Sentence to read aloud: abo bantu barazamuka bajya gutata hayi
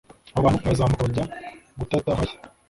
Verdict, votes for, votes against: rejected, 0, 2